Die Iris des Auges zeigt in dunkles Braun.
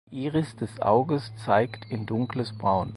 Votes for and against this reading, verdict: 0, 4, rejected